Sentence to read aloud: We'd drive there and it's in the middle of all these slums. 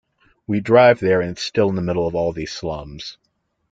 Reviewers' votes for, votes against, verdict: 1, 2, rejected